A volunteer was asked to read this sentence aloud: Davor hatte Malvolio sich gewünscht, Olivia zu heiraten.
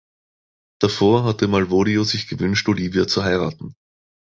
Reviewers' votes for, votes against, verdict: 2, 1, accepted